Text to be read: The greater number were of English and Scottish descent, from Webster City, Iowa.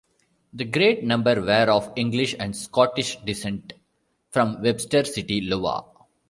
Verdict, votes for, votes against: rejected, 0, 2